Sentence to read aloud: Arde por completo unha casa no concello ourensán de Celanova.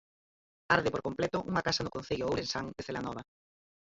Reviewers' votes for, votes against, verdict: 2, 4, rejected